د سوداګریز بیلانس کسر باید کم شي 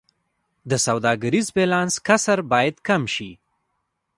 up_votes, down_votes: 2, 0